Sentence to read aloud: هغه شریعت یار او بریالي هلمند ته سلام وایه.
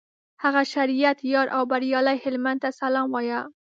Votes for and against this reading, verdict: 3, 0, accepted